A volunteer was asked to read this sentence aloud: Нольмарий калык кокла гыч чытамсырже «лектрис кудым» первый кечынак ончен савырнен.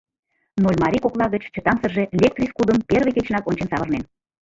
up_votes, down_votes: 0, 2